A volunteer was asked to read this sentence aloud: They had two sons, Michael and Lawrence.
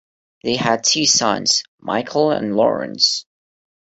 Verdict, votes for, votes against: accepted, 2, 0